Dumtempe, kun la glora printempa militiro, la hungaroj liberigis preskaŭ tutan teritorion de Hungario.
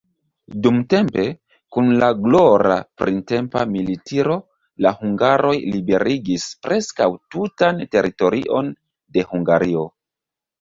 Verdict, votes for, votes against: accepted, 2, 0